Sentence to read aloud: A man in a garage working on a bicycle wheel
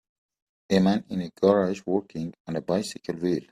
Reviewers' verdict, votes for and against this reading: accepted, 2, 1